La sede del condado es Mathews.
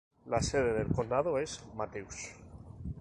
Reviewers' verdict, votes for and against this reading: accepted, 2, 0